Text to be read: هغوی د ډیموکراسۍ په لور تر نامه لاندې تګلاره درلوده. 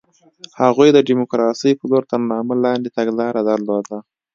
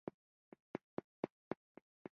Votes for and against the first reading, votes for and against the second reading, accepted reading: 2, 0, 0, 2, first